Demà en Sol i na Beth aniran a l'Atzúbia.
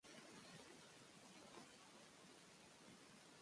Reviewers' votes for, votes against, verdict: 1, 2, rejected